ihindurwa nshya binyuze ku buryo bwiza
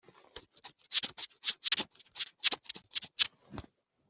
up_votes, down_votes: 0, 2